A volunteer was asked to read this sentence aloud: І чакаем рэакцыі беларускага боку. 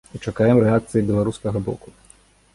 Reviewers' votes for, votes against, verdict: 2, 0, accepted